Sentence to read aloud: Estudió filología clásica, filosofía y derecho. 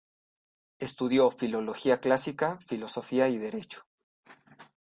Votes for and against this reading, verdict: 2, 0, accepted